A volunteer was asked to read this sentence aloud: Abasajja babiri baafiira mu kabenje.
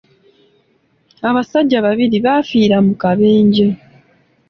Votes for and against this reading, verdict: 2, 0, accepted